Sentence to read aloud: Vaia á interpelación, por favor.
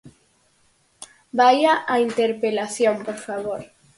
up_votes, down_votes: 4, 0